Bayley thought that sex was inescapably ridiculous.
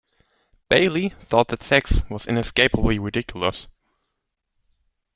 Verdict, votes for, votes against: accepted, 2, 0